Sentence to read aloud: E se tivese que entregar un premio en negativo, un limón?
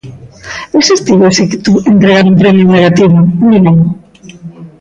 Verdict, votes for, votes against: rejected, 0, 2